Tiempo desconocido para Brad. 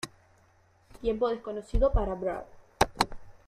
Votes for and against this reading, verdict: 2, 1, accepted